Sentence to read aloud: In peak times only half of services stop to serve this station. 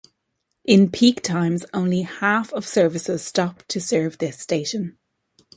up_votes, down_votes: 2, 0